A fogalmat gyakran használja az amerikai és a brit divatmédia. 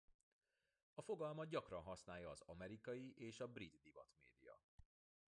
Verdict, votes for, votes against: rejected, 1, 2